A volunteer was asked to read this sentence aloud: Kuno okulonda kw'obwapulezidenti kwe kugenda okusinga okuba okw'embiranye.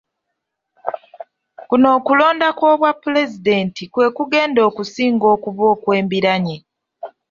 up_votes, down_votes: 2, 0